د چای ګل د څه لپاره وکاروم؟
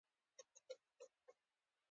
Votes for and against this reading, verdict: 2, 0, accepted